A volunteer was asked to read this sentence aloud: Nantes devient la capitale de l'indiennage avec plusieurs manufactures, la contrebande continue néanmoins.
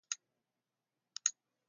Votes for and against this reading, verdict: 1, 2, rejected